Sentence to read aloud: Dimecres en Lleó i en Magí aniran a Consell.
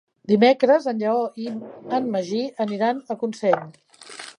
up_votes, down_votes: 3, 0